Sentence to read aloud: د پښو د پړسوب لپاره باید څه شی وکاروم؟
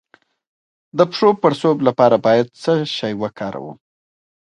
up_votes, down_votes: 2, 1